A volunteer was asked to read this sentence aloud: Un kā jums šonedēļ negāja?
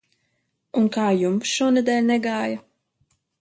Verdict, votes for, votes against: accepted, 3, 0